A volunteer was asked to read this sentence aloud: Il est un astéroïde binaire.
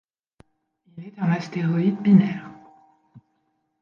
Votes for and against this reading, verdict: 1, 2, rejected